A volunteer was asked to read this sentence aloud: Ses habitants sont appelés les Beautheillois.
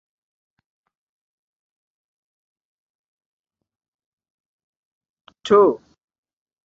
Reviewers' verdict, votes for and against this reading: rejected, 0, 2